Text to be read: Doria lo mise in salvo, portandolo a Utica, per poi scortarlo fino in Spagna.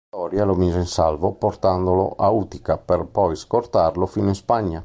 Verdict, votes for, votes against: accepted, 2, 0